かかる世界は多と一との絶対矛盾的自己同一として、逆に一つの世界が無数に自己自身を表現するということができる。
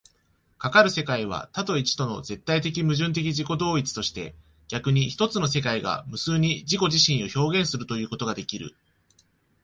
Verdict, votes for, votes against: accepted, 2, 0